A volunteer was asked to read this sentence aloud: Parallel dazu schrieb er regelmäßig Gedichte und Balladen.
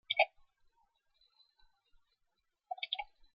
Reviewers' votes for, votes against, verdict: 0, 2, rejected